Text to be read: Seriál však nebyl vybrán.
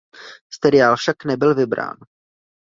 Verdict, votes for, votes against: rejected, 0, 2